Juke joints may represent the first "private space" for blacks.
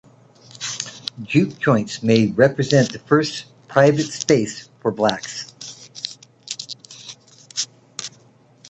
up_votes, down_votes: 2, 0